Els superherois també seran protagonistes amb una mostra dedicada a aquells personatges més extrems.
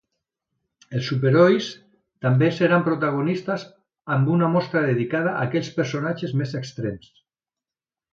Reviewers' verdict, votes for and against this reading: rejected, 1, 2